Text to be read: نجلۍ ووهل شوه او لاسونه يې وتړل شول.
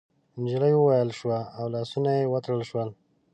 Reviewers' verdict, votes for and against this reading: rejected, 1, 2